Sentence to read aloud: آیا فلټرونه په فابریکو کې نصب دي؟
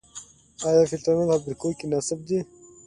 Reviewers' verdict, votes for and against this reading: accepted, 2, 0